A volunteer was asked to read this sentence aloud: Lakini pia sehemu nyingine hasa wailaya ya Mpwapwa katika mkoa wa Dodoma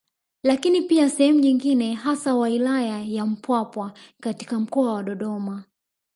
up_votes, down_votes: 0, 2